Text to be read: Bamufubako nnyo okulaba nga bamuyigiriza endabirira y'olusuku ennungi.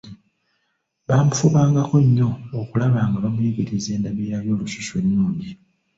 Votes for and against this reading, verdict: 1, 2, rejected